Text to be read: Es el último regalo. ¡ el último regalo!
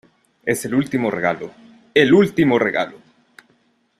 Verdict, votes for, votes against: accepted, 2, 0